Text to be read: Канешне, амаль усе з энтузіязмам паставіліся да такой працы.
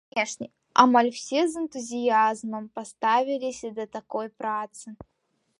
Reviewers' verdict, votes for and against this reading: rejected, 1, 2